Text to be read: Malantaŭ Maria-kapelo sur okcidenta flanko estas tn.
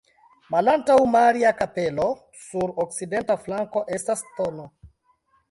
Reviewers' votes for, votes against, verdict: 2, 0, accepted